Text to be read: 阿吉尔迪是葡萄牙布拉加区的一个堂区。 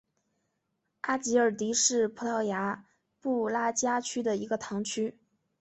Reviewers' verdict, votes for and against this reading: accepted, 4, 0